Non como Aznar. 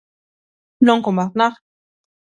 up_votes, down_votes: 6, 0